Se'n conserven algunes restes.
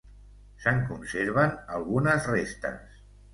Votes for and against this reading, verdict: 2, 0, accepted